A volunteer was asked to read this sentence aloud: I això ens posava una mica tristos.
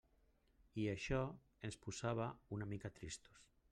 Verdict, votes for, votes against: accepted, 3, 1